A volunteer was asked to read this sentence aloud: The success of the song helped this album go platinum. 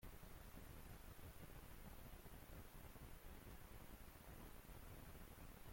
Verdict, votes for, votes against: rejected, 0, 2